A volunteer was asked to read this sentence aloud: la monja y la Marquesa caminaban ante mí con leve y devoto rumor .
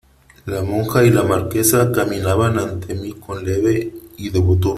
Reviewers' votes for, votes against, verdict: 1, 3, rejected